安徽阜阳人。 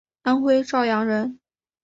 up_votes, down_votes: 0, 2